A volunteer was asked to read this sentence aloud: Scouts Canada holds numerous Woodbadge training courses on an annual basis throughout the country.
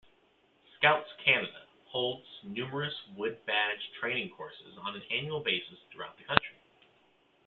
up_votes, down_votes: 2, 0